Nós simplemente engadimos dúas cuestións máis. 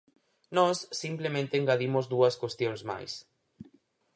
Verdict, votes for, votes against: accepted, 4, 0